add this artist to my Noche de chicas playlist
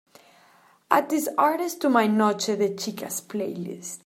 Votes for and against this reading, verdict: 2, 0, accepted